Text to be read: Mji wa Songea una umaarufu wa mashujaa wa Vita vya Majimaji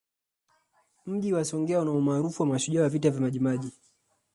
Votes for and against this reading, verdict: 2, 0, accepted